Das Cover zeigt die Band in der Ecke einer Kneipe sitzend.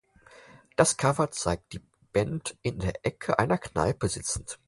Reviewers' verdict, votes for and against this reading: accepted, 4, 0